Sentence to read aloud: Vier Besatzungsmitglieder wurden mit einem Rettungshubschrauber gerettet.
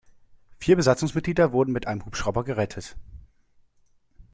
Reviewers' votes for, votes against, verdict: 0, 2, rejected